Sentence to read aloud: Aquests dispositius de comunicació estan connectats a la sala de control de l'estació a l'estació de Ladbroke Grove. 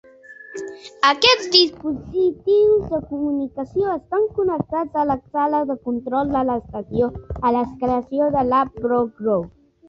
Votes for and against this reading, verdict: 1, 2, rejected